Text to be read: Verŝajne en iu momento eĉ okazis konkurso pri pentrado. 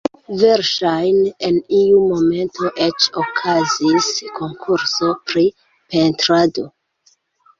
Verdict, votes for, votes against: rejected, 1, 2